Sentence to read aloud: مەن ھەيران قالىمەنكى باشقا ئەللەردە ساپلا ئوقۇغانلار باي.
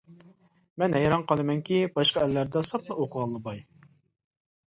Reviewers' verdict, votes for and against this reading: rejected, 1, 2